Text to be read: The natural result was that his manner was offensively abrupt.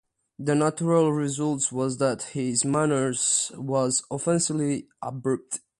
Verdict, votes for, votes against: rejected, 1, 2